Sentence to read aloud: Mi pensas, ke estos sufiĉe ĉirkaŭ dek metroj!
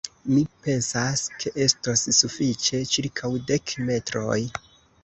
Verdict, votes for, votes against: rejected, 0, 2